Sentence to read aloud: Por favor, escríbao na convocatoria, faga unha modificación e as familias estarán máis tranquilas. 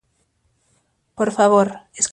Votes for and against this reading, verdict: 0, 2, rejected